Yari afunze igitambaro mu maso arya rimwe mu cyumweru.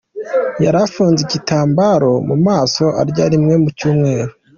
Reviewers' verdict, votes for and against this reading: accepted, 2, 0